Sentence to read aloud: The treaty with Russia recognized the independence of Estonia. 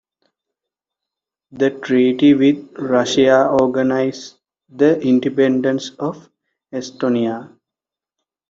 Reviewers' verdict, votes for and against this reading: rejected, 0, 2